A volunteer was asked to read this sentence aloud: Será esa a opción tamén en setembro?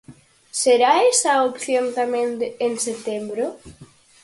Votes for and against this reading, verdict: 0, 4, rejected